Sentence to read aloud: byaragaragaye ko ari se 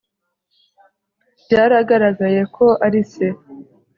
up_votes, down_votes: 2, 0